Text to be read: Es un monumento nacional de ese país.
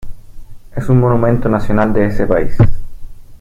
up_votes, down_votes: 2, 0